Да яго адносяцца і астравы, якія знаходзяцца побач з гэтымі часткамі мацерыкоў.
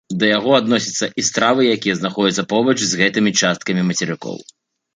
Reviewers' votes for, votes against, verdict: 2, 3, rejected